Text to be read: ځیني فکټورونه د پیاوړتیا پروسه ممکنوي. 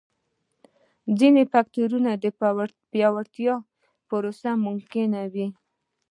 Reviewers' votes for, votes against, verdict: 0, 2, rejected